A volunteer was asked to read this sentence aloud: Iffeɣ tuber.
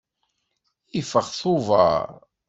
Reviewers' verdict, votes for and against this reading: accepted, 2, 0